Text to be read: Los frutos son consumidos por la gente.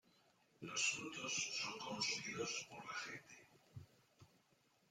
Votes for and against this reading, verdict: 0, 2, rejected